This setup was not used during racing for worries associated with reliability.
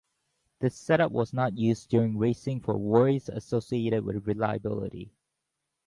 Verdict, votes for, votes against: accepted, 2, 0